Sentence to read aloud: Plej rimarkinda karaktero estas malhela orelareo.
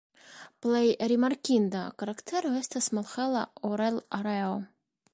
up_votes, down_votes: 1, 2